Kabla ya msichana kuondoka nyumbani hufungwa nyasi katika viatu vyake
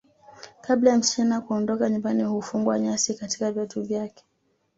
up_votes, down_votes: 2, 0